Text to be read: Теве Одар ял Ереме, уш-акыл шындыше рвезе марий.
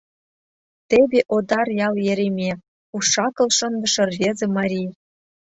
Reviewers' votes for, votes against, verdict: 2, 0, accepted